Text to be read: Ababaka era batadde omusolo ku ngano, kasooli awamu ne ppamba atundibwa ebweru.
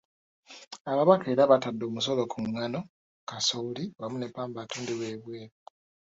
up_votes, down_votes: 1, 2